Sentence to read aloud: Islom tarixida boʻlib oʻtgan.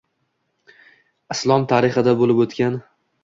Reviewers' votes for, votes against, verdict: 2, 0, accepted